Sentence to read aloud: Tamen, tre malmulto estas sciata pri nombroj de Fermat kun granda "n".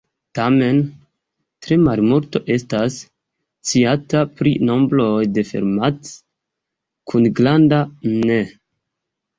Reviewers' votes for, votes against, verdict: 1, 2, rejected